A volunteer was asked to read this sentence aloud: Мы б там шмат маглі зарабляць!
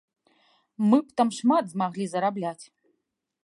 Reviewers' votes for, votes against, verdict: 0, 2, rejected